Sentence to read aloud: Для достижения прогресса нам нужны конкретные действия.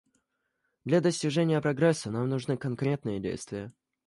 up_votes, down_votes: 2, 0